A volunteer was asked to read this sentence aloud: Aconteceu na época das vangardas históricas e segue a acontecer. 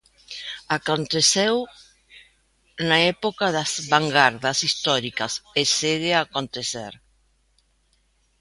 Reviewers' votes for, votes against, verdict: 2, 0, accepted